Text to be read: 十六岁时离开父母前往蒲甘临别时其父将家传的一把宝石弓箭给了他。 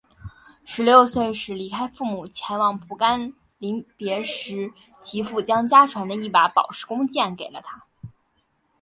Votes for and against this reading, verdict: 3, 1, accepted